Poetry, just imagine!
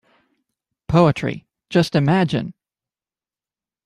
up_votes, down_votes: 2, 0